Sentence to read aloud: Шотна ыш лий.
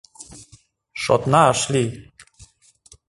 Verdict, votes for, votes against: accepted, 2, 0